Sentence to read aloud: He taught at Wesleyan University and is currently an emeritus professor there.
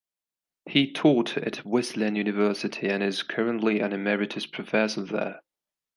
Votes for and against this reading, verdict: 2, 0, accepted